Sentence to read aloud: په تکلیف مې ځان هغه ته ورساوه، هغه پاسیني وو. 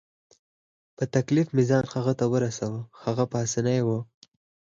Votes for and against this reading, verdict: 2, 4, rejected